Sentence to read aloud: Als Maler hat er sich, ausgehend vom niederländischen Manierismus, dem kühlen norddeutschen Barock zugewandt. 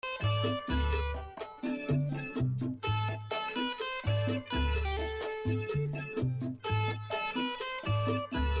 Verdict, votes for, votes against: rejected, 0, 2